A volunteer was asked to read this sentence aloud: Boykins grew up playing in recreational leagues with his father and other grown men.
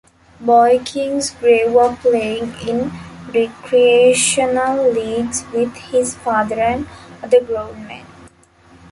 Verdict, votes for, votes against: rejected, 0, 2